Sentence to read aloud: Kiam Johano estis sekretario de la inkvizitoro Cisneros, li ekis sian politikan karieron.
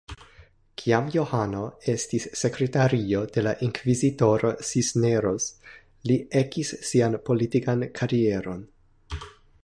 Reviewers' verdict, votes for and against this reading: rejected, 0, 2